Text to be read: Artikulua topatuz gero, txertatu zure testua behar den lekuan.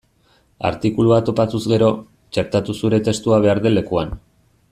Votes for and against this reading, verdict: 2, 0, accepted